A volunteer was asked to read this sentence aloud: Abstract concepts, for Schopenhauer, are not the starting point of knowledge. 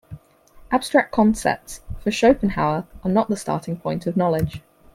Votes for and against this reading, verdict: 4, 0, accepted